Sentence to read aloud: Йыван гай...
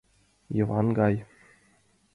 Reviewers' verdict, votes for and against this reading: accepted, 2, 1